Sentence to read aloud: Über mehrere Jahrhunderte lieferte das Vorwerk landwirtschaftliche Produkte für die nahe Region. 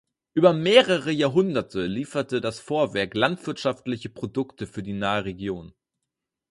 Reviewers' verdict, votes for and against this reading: accepted, 4, 2